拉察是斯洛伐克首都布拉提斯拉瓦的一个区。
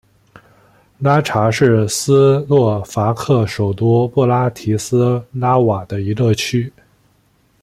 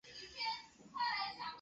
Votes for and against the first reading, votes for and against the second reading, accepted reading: 2, 0, 1, 2, first